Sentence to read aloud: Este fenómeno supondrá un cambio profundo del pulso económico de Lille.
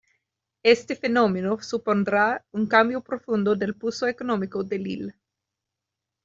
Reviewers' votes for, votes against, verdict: 2, 1, accepted